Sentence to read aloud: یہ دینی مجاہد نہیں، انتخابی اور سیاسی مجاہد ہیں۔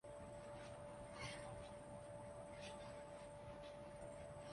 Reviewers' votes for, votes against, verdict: 0, 2, rejected